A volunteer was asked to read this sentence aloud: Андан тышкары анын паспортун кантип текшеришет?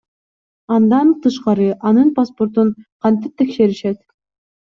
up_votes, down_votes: 2, 0